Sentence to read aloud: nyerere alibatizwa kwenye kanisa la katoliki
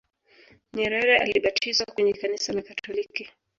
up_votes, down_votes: 1, 2